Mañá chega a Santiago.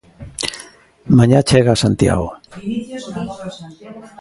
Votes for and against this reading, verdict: 1, 2, rejected